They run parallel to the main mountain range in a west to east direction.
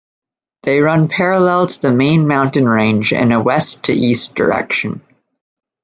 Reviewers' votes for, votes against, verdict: 2, 0, accepted